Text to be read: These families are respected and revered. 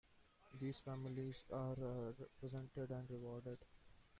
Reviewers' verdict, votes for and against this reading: rejected, 0, 2